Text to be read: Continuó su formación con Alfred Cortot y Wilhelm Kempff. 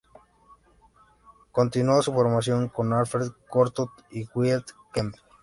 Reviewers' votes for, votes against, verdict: 0, 2, rejected